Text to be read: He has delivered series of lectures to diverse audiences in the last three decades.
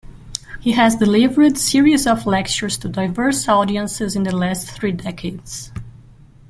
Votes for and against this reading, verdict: 1, 2, rejected